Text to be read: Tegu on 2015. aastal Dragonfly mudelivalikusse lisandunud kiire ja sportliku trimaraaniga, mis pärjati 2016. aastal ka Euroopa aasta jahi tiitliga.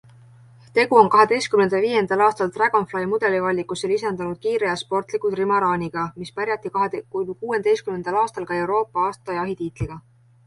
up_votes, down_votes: 0, 2